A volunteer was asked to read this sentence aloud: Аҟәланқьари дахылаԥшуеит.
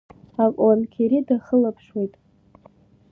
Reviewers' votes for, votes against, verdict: 2, 1, accepted